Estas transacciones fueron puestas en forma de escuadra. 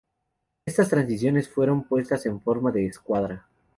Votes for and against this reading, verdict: 2, 0, accepted